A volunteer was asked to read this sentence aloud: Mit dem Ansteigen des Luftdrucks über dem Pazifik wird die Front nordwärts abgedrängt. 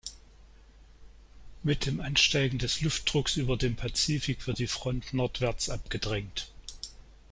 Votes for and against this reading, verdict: 2, 0, accepted